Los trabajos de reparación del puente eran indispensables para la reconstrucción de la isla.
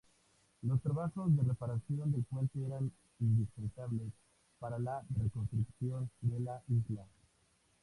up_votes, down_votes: 2, 0